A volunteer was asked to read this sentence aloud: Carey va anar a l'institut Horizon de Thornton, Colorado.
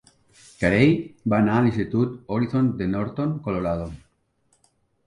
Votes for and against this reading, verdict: 0, 2, rejected